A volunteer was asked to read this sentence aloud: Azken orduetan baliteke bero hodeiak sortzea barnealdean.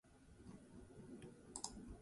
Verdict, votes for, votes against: rejected, 0, 2